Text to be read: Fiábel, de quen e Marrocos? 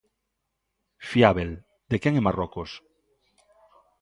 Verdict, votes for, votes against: accepted, 2, 0